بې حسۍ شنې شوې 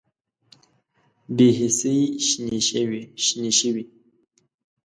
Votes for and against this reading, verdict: 0, 2, rejected